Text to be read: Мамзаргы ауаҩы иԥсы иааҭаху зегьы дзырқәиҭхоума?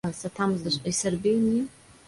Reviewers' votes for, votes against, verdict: 0, 2, rejected